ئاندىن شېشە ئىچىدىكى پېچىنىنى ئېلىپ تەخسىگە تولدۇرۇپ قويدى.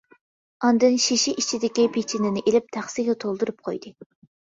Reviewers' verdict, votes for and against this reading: accepted, 2, 0